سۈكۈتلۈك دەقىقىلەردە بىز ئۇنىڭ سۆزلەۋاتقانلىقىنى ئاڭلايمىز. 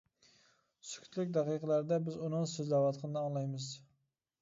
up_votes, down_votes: 1, 2